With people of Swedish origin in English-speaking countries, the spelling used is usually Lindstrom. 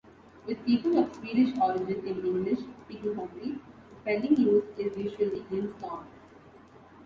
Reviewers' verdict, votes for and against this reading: rejected, 1, 2